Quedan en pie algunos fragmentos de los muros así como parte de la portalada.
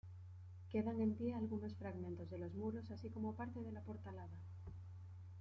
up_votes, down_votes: 1, 2